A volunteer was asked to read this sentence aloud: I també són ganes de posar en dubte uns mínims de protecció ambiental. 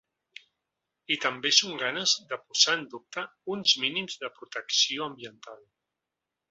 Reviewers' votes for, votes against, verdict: 2, 0, accepted